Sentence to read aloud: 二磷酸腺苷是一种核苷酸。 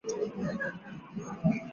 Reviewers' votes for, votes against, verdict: 0, 2, rejected